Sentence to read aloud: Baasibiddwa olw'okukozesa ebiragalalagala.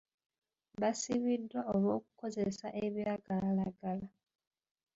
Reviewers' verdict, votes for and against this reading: accepted, 2, 1